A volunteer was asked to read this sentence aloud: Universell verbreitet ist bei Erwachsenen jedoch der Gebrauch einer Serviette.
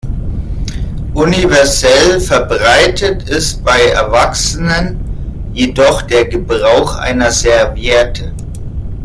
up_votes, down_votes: 0, 2